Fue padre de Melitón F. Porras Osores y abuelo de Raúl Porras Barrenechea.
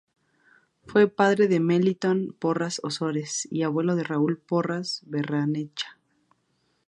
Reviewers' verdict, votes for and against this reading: rejected, 0, 2